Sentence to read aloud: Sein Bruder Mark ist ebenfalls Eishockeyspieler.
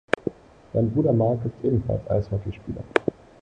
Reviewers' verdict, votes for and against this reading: accepted, 2, 1